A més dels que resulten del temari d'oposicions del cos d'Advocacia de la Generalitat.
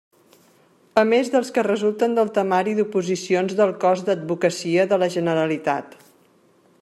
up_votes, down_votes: 3, 0